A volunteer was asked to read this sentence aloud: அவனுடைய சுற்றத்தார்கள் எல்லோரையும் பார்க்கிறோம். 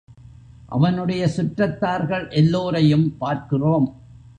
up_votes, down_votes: 2, 0